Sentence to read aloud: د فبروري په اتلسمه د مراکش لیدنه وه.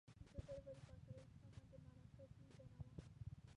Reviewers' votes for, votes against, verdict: 2, 3, rejected